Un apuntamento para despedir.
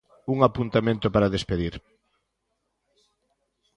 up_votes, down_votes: 2, 0